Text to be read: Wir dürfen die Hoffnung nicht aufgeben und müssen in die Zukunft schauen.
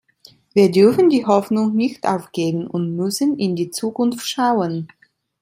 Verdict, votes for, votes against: accepted, 2, 0